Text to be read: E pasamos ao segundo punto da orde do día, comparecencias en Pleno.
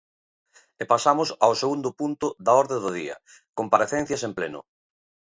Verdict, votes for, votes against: accepted, 2, 0